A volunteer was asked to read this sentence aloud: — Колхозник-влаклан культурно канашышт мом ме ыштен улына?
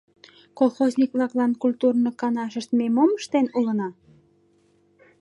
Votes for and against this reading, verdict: 1, 2, rejected